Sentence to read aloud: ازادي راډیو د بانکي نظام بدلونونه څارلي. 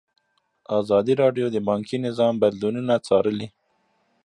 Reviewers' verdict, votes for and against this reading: rejected, 1, 2